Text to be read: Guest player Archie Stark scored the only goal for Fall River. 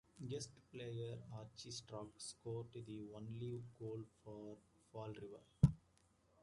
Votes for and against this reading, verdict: 0, 2, rejected